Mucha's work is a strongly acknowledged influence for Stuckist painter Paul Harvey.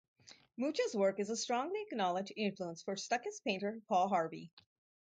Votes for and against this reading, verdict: 4, 0, accepted